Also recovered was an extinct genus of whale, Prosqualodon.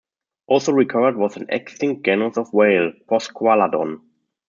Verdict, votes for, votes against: rejected, 0, 2